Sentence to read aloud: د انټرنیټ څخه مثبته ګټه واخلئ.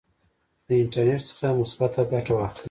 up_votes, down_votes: 1, 2